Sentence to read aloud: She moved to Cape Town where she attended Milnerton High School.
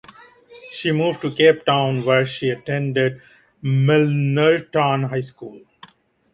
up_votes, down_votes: 1, 2